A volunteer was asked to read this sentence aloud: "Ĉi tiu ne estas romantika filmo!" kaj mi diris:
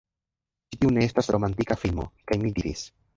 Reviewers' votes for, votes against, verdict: 0, 2, rejected